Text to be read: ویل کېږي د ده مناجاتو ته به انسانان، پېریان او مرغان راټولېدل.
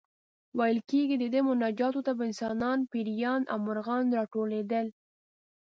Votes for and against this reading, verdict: 2, 0, accepted